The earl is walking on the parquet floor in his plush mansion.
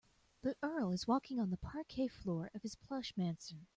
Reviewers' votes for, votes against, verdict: 0, 2, rejected